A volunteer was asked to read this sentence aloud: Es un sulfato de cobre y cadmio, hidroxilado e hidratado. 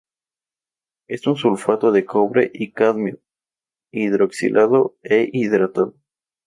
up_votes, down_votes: 2, 0